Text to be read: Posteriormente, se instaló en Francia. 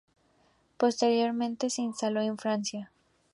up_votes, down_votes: 2, 0